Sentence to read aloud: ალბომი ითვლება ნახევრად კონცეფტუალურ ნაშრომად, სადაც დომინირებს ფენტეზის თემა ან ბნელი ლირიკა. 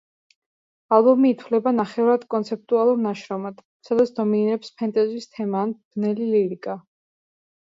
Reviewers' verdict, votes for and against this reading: rejected, 1, 2